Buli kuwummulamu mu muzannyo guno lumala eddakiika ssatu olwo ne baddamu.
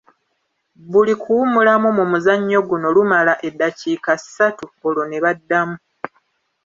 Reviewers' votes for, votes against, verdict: 2, 1, accepted